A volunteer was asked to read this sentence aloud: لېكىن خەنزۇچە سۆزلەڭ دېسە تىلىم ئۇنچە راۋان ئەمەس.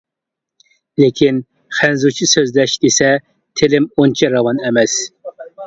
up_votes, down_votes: 0, 2